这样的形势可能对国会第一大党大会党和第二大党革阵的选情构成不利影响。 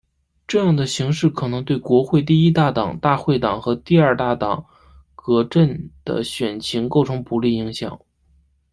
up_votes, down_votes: 0, 2